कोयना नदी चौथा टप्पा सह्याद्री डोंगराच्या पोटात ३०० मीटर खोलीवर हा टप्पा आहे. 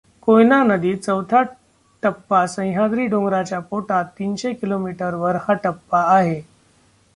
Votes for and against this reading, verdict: 0, 2, rejected